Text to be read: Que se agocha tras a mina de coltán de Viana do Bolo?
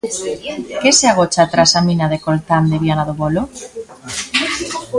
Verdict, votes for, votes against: rejected, 1, 2